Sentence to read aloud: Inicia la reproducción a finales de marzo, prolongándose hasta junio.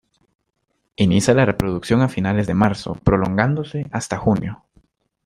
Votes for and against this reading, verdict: 2, 0, accepted